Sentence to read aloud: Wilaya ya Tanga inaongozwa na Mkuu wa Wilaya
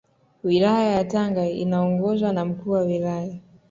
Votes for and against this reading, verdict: 2, 0, accepted